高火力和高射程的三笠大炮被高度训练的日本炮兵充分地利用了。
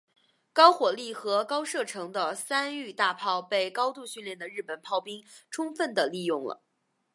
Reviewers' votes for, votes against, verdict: 4, 2, accepted